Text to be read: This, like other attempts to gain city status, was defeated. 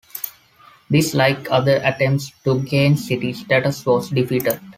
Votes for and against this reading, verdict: 2, 0, accepted